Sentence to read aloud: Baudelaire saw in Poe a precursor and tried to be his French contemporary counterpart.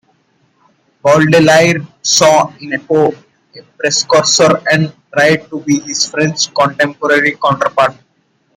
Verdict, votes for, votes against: rejected, 0, 2